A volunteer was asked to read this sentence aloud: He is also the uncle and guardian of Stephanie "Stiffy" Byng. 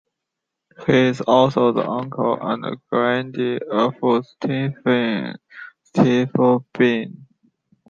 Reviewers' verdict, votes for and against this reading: rejected, 0, 2